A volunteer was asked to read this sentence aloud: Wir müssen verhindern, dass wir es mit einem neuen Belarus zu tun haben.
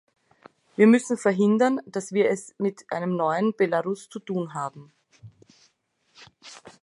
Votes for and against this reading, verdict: 2, 0, accepted